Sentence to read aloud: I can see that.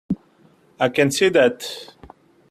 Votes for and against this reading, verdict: 2, 0, accepted